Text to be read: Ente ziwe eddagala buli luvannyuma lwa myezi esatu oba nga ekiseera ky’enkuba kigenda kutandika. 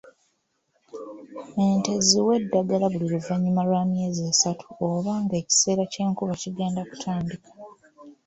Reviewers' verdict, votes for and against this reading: accepted, 2, 0